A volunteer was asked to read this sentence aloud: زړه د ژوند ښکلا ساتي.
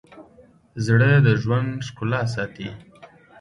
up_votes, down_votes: 2, 0